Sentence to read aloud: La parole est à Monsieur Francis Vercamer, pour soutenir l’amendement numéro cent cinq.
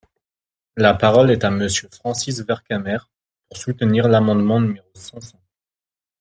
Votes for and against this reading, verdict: 0, 2, rejected